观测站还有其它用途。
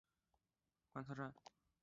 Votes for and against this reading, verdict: 0, 2, rejected